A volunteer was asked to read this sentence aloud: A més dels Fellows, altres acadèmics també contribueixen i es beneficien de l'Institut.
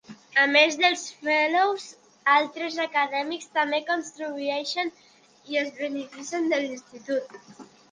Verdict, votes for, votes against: rejected, 0, 2